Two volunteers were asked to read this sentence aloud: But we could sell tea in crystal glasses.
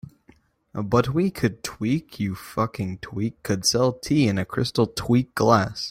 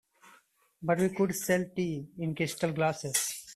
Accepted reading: second